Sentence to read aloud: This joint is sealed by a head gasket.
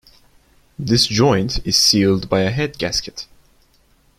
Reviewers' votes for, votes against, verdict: 2, 0, accepted